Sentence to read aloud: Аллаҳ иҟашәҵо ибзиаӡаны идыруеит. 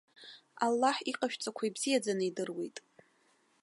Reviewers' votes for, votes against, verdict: 1, 2, rejected